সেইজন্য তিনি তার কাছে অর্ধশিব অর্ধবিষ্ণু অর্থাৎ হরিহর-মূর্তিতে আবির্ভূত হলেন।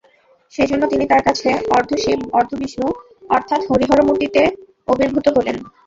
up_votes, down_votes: 0, 2